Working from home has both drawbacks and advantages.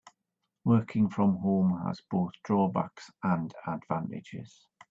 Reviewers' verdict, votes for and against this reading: accepted, 3, 0